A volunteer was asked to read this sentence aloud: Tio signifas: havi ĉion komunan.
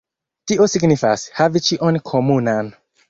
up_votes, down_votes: 2, 0